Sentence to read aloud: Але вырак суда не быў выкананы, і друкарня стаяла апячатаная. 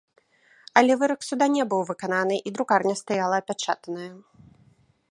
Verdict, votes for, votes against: rejected, 0, 2